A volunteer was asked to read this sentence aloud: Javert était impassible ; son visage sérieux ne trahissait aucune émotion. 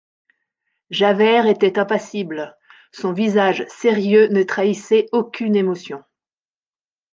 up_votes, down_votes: 3, 0